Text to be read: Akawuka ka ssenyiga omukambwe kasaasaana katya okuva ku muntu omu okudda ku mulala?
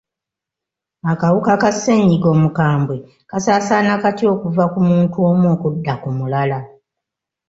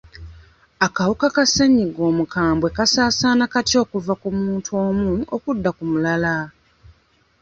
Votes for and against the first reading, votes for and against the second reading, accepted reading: 2, 0, 0, 2, first